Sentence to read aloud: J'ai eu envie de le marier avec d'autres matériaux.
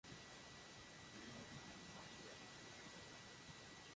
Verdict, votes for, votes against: rejected, 0, 3